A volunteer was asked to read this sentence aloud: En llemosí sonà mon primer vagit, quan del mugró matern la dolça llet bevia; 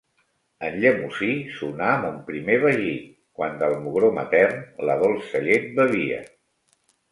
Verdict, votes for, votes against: accepted, 2, 0